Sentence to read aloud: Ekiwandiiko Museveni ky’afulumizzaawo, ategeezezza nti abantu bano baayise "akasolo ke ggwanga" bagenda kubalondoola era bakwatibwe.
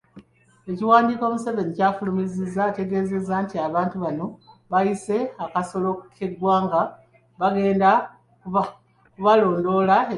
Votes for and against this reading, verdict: 1, 2, rejected